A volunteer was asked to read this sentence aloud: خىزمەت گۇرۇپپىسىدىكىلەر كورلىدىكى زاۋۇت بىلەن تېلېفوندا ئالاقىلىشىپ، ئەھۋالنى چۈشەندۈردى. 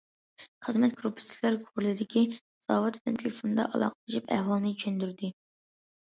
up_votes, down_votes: 1, 2